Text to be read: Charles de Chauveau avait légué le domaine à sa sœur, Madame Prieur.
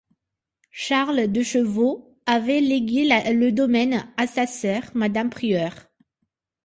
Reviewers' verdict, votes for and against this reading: rejected, 0, 2